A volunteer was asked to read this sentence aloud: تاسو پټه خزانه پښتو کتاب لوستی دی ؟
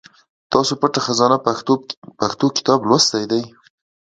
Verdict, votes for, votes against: accepted, 2, 1